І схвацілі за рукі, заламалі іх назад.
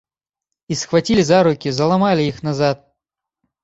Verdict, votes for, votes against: accepted, 3, 0